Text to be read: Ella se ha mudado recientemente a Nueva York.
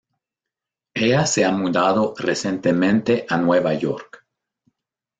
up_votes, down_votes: 2, 0